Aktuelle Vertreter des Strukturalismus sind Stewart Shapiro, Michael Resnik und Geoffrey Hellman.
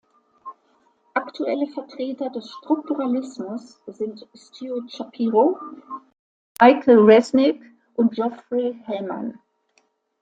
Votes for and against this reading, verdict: 2, 0, accepted